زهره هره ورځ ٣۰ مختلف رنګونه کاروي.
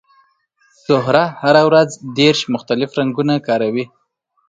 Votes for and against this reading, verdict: 0, 2, rejected